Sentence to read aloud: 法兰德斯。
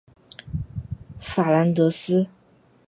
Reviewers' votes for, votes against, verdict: 2, 0, accepted